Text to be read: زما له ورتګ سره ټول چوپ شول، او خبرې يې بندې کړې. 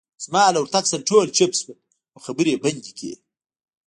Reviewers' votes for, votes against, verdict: 1, 2, rejected